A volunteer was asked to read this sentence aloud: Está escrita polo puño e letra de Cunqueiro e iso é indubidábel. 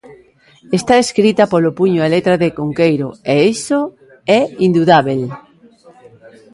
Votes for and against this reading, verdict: 1, 2, rejected